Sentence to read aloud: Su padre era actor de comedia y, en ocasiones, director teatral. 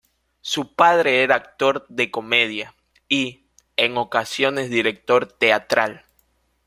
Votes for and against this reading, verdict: 2, 0, accepted